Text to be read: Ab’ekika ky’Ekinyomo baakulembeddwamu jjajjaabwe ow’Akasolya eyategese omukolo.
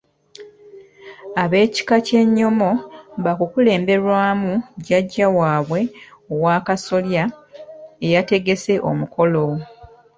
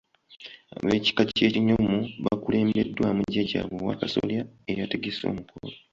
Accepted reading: second